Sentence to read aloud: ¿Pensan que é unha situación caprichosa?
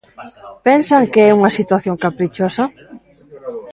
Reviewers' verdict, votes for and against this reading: rejected, 1, 2